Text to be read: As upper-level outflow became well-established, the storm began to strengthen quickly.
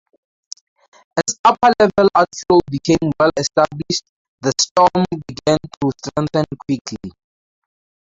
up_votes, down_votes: 0, 4